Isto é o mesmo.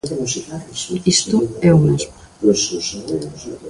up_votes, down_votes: 1, 2